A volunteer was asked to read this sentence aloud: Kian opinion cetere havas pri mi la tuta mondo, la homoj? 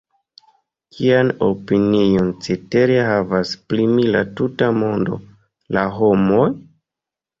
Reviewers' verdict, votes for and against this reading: accepted, 2, 1